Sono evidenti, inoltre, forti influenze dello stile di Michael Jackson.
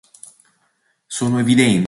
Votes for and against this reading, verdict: 1, 2, rejected